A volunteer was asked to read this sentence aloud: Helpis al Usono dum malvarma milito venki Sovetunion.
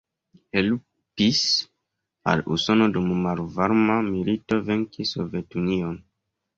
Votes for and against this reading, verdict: 2, 1, accepted